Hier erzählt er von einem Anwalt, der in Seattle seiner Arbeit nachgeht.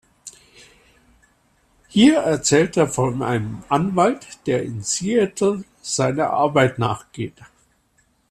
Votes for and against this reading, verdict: 2, 0, accepted